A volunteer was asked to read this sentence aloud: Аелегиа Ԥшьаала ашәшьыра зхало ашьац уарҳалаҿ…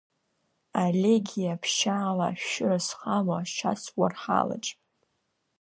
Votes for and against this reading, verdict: 2, 0, accepted